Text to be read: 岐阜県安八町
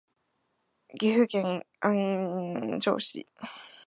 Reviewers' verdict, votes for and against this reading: rejected, 2, 3